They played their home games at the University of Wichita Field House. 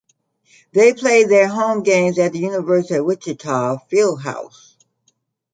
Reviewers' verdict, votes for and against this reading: accepted, 2, 0